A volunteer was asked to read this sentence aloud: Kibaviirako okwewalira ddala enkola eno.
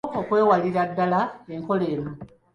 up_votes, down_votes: 1, 2